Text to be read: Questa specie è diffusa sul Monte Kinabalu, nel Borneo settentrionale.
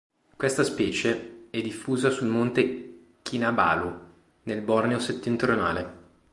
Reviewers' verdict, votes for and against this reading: accepted, 2, 0